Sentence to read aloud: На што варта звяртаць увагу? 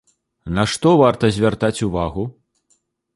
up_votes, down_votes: 2, 0